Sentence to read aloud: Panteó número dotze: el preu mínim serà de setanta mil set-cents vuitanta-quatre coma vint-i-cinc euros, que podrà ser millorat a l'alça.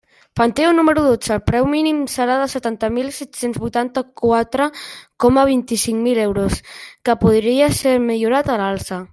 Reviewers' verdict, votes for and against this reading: rejected, 0, 2